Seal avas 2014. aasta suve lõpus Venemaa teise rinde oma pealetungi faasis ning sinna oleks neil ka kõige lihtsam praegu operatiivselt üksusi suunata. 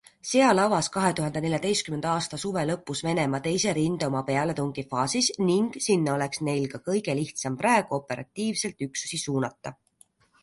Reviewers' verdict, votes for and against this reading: rejected, 0, 2